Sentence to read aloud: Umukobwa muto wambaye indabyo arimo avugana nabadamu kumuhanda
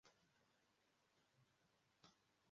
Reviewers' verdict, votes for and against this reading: rejected, 0, 2